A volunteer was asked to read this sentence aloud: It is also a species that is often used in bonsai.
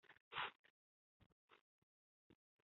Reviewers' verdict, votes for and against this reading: rejected, 0, 3